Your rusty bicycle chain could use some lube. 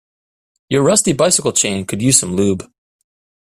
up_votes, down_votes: 2, 0